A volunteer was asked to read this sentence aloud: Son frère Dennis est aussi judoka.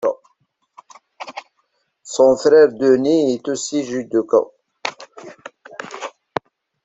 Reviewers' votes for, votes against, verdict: 1, 2, rejected